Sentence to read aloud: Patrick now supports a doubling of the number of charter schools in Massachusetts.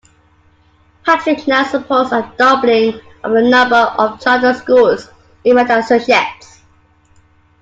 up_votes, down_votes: 0, 2